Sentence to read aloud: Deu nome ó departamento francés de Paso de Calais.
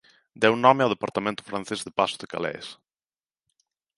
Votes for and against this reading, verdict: 0, 2, rejected